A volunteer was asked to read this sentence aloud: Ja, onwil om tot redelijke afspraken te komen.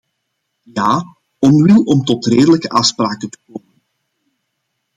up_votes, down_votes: 1, 2